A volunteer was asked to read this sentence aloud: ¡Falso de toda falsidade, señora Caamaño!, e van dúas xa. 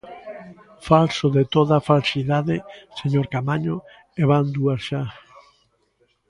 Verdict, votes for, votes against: rejected, 0, 2